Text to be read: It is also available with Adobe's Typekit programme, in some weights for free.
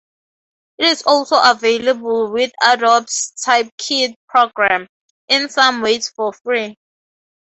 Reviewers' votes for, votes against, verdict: 4, 4, rejected